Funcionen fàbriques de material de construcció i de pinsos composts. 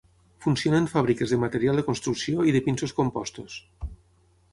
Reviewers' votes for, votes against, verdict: 3, 6, rejected